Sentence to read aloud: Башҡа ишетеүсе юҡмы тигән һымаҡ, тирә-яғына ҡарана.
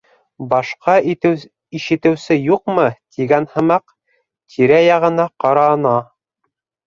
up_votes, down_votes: 0, 2